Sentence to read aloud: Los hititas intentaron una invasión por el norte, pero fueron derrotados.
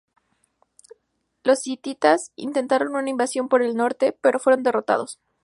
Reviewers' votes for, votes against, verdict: 2, 0, accepted